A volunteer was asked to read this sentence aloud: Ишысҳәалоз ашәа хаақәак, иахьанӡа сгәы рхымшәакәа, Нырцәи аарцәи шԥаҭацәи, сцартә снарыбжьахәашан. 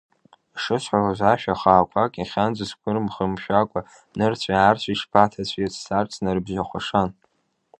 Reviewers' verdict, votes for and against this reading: rejected, 1, 2